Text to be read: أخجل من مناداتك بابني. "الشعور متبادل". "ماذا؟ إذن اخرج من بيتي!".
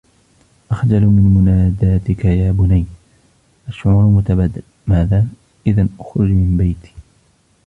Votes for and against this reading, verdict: 0, 2, rejected